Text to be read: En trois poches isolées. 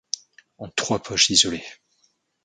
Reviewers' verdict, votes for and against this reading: rejected, 1, 2